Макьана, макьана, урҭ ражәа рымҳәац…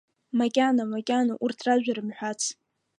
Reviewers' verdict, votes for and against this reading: accepted, 2, 1